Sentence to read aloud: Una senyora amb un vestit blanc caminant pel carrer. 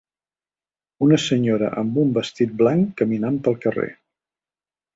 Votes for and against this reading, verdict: 4, 0, accepted